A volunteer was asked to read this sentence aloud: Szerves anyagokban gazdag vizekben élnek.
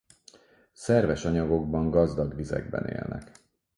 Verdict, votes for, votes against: accepted, 4, 0